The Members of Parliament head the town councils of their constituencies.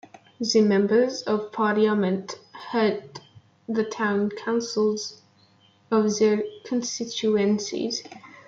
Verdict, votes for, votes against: rejected, 0, 2